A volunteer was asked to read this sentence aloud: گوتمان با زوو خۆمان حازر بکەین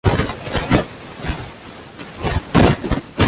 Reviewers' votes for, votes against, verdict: 0, 2, rejected